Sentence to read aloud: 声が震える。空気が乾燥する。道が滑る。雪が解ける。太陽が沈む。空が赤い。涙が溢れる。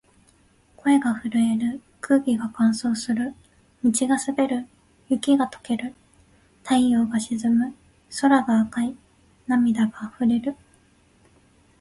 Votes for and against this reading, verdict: 2, 0, accepted